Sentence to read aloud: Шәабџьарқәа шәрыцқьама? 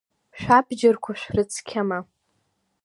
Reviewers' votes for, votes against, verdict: 2, 1, accepted